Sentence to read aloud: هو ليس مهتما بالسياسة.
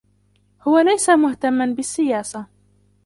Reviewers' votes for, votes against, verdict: 2, 1, accepted